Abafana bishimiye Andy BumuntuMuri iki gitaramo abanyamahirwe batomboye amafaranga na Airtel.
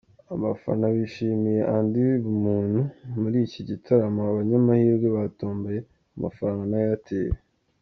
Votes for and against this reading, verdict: 2, 1, accepted